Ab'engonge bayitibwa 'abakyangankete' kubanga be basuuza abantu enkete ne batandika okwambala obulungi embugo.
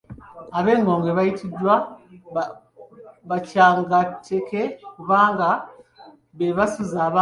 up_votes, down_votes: 0, 2